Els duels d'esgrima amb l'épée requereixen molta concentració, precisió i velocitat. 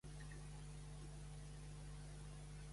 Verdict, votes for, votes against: rejected, 0, 2